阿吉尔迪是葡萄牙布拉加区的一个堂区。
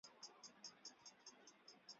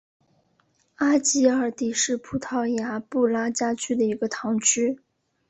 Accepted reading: second